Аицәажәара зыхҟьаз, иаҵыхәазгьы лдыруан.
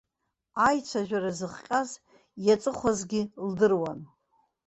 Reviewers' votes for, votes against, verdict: 1, 2, rejected